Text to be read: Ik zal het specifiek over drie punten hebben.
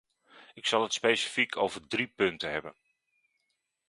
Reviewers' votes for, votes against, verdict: 2, 0, accepted